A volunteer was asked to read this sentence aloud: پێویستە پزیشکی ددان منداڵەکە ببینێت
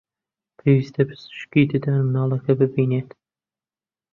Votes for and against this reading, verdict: 0, 2, rejected